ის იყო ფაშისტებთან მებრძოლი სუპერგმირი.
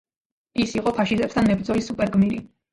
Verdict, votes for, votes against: accepted, 2, 0